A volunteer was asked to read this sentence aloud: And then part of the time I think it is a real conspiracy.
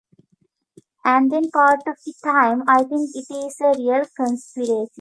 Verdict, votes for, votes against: rejected, 1, 2